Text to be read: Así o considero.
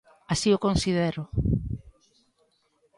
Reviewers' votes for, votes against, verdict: 1, 2, rejected